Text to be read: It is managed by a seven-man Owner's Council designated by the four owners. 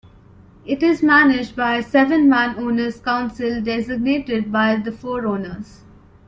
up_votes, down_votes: 2, 0